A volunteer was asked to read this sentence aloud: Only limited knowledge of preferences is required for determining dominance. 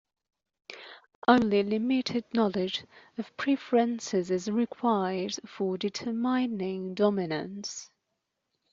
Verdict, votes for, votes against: rejected, 1, 2